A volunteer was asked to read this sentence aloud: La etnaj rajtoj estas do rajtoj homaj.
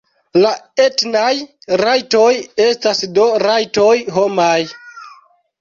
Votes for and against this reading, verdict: 2, 0, accepted